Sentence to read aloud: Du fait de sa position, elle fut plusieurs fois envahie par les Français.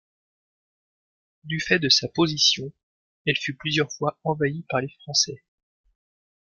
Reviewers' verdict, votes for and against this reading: accepted, 2, 0